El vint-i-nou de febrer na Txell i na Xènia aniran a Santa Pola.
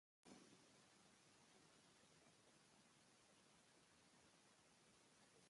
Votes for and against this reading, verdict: 0, 2, rejected